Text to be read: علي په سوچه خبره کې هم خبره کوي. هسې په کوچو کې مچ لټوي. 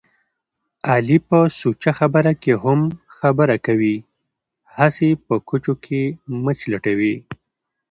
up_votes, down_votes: 2, 0